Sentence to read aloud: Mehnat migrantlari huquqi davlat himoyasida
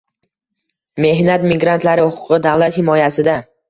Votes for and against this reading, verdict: 2, 0, accepted